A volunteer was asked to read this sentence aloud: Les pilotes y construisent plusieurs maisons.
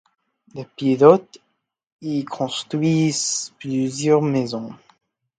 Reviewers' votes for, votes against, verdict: 2, 0, accepted